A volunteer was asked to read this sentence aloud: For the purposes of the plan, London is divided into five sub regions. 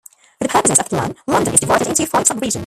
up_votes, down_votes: 0, 2